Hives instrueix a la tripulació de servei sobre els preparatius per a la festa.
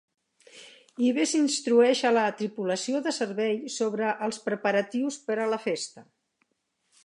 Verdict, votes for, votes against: accepted, 2, 0